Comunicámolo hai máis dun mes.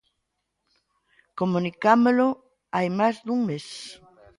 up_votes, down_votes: 0, 2